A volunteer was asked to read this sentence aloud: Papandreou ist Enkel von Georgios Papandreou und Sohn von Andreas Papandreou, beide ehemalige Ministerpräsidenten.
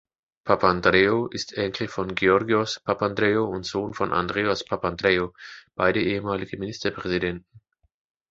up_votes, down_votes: 2, 0